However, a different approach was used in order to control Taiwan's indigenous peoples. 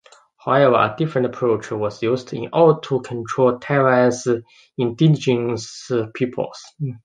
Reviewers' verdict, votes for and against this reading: accepted, 2, 0